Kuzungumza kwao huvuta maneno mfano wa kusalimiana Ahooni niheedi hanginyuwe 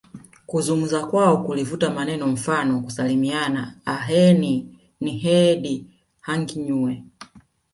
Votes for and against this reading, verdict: 1, 2, rejected